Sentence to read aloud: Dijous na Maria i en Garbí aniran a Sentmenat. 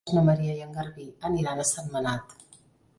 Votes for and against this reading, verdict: 0, 2, rejected